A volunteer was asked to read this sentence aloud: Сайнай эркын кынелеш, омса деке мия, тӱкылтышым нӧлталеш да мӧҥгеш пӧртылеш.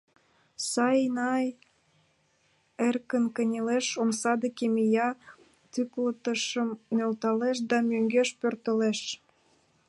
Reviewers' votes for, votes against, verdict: 1, 2, rejected